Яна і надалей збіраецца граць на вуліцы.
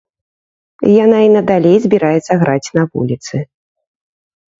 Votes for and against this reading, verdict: 3, 0, accepted